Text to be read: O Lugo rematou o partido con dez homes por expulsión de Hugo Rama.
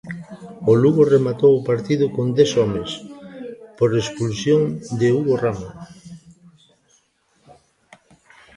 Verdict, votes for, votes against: rejected, 1, 2